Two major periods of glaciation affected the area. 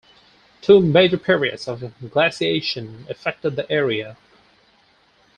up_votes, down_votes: 4, 2